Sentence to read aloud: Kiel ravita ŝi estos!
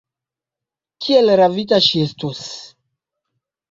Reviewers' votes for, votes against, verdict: 0, 2, rejected